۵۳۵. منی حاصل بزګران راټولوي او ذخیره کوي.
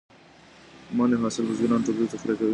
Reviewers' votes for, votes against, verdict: 0, 2, rejected